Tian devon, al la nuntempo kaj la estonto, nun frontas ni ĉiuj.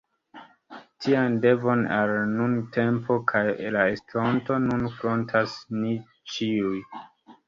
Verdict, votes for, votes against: accepted, 2, 1